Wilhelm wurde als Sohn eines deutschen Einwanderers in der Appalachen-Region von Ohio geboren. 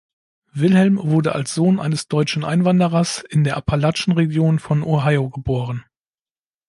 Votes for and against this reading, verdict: 0, 2, rejected